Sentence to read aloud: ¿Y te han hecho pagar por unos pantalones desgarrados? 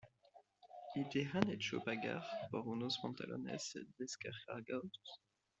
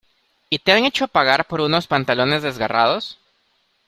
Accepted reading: second